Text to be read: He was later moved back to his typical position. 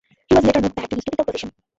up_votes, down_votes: 0, 2